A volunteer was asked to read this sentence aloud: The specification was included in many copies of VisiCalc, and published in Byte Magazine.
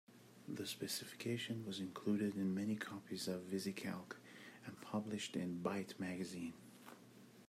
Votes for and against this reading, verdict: 2, 0, accepted